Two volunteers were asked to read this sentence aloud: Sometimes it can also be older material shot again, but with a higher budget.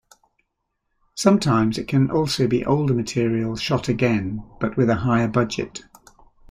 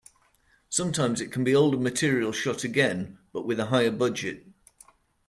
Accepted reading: first